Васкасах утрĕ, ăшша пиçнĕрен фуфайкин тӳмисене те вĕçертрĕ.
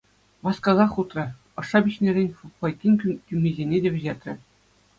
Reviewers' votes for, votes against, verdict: 2, 1, accepted